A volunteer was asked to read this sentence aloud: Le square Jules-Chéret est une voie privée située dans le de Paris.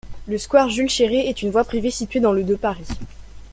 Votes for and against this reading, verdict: 2, 0, accepted